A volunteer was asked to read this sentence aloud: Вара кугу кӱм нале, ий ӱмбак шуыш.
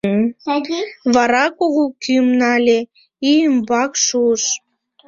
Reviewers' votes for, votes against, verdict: 1, 2, rejected